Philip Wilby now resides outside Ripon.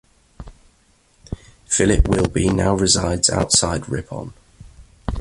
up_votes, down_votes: 2, 1